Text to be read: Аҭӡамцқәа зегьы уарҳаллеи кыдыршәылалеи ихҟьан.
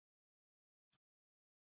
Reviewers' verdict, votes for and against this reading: rejected, 0, 3